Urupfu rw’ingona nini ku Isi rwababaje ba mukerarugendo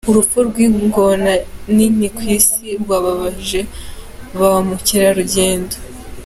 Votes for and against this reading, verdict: 2, 1, accepted